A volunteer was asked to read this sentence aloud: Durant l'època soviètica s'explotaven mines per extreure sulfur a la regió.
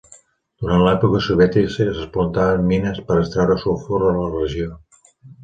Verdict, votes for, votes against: rejected, 2, 3